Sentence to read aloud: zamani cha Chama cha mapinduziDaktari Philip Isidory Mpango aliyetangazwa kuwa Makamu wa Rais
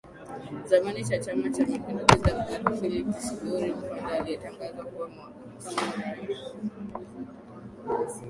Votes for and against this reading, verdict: 2, 3, rejected